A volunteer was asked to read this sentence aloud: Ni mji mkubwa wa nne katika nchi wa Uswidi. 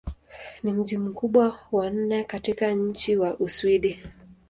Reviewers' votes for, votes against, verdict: 2, 0, accepted